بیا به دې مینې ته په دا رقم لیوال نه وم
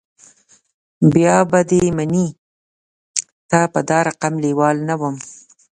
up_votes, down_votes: 0, 2